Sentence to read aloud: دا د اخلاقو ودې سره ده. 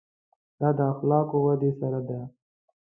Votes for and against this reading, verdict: 2, 0, accepted